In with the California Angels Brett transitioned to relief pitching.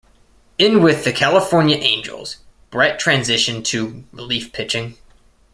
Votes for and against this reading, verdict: 3, 1, accepted